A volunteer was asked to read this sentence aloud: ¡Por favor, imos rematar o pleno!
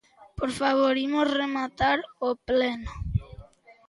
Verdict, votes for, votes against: accepted, 2, 0